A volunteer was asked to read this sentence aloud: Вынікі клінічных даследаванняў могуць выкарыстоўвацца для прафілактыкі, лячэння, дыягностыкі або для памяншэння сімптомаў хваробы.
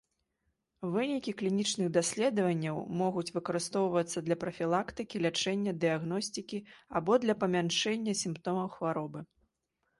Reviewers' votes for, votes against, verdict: 0, 2, rejected